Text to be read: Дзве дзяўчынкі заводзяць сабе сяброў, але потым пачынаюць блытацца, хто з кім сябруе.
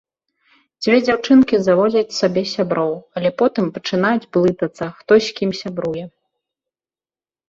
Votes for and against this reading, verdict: 2, 0, accepted